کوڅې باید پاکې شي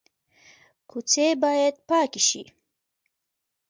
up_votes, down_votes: 1, 2